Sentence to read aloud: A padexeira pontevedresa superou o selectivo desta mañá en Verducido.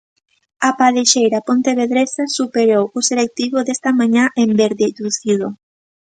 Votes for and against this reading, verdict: 0, 2, rejected